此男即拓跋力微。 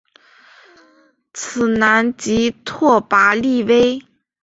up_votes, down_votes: 3, 0